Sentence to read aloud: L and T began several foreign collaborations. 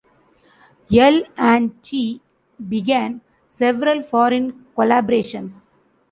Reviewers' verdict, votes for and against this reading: rejected, 1, 2